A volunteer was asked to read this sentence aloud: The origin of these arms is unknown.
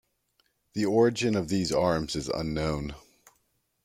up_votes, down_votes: 2, 0